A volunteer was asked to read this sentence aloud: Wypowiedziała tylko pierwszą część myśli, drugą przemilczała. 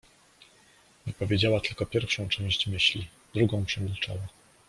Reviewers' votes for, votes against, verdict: 1, 2, rejected